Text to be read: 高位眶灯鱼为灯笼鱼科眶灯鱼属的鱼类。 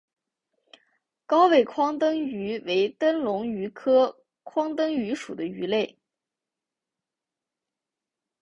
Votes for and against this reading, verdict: 3, 0, accepted